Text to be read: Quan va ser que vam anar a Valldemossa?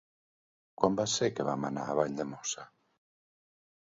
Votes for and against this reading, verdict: 1, 2, rejected